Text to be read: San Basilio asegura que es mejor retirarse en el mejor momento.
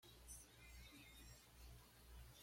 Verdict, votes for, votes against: rejected, 1, 2